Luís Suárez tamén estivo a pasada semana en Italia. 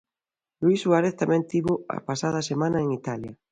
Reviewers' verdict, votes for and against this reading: rejected, 0, 2